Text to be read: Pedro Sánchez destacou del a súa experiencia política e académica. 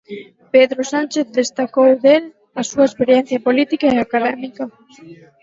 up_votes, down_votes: 2, 2